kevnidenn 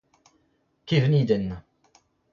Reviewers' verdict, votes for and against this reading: accepted, 2, 1